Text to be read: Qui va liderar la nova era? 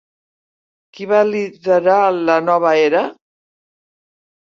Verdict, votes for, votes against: accepted, 3, 1